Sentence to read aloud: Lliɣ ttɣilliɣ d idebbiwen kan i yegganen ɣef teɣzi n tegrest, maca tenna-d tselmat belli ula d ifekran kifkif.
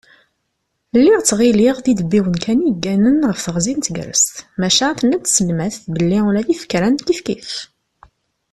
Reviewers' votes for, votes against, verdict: 2, 0, accepted